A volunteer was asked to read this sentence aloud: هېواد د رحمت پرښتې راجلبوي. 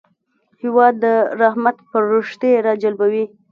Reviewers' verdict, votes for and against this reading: accepted, 2, 0